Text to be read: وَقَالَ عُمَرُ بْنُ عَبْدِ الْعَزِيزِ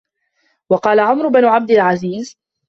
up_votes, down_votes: 2, 0